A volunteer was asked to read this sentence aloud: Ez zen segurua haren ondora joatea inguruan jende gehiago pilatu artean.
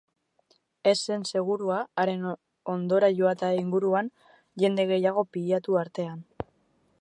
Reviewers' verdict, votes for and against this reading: rejected, 1, 2